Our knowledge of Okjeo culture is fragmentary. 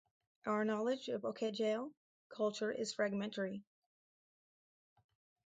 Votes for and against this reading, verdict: 2, 2, rejected